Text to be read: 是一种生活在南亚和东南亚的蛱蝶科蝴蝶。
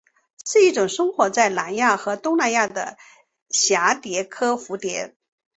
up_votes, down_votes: 2, 2